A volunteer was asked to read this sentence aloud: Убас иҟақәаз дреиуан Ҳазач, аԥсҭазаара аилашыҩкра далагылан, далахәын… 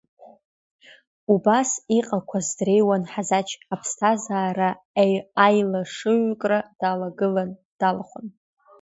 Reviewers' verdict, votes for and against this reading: rejected, 1, 2